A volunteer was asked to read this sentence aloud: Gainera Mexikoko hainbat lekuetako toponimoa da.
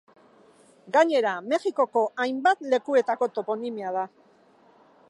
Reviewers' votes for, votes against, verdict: 1, 2, rejected